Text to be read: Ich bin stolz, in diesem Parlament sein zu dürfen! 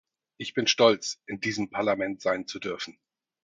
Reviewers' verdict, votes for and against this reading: accepted, 4, 0